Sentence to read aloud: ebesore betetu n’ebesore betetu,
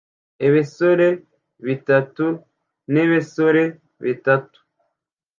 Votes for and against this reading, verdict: 0, 2, rejected